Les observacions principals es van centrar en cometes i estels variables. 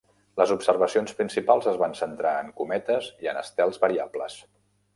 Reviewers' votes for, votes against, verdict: 1, 2, rejected